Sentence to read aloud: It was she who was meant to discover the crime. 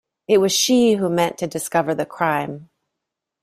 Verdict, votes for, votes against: rejected, 1, 2